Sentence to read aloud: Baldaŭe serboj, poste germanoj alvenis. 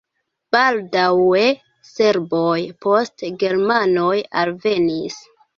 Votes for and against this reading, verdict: 1, 2, rejected